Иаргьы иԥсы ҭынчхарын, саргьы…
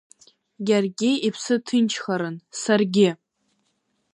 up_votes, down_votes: 2, 0